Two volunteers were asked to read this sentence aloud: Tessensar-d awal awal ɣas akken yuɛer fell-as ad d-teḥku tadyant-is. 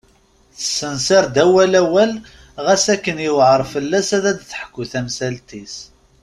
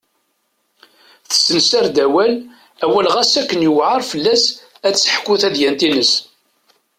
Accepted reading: second